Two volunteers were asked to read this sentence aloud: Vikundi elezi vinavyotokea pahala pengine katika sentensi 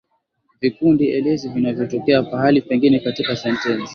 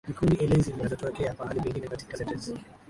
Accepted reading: first